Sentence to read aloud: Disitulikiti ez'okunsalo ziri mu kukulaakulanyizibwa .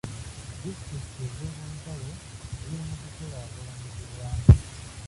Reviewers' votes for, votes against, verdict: 1, 2, rejected